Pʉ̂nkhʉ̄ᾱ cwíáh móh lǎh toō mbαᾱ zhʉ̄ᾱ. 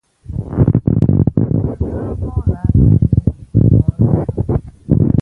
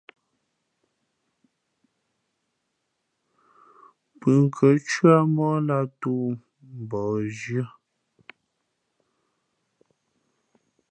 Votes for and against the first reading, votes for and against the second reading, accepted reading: 1, 2, 2, 0, second